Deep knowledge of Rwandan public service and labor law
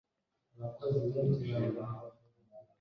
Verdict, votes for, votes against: rejected, 1, 2